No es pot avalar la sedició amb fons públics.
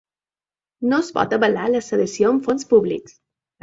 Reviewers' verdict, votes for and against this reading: accepted, 2, 0